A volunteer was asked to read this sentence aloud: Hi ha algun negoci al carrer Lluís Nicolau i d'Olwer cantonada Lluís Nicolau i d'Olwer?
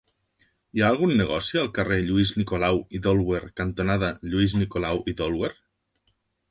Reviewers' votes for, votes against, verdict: 2, 0, accepted